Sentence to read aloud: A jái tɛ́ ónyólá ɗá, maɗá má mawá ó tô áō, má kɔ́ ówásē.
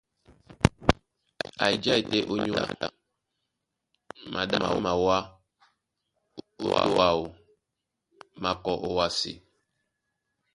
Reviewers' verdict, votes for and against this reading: accepted, 2, 1